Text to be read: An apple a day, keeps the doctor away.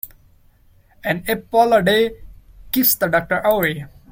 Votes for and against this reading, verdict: 2, 0, accepted